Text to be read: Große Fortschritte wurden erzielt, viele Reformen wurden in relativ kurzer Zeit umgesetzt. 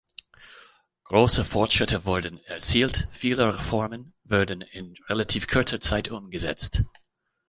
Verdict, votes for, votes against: rejected, 1, 2